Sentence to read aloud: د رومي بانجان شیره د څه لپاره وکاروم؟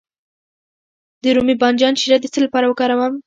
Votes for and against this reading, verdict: 0, 2, rejected